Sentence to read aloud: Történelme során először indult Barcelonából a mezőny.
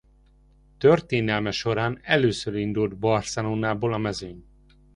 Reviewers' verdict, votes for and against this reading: accepted, 2, 0